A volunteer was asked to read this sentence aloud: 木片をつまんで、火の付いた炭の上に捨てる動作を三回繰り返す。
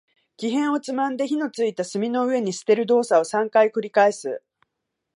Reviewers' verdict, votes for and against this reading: accepted, 2, 1